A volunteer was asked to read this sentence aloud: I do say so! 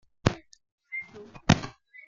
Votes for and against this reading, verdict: 1, 2, rejected